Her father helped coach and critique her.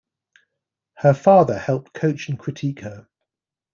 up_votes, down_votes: 2, 0